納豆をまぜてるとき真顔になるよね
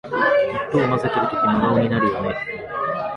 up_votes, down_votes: 1, 2